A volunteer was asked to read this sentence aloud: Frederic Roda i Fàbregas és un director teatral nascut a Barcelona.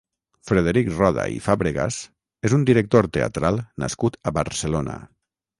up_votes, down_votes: 0, 3